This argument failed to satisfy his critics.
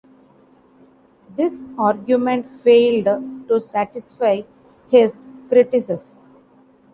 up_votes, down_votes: 0, 2